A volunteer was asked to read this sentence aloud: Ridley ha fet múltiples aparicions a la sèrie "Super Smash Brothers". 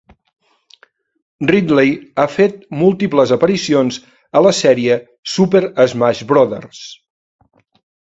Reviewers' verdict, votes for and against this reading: accepted, 2, 0